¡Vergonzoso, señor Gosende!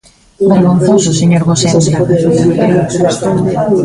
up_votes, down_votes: 0, 3